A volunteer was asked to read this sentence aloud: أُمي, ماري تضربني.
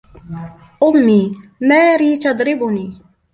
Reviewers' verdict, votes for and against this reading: accepted, 3, 1